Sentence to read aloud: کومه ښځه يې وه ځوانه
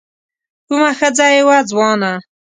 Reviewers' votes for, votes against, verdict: 2, 0, accepted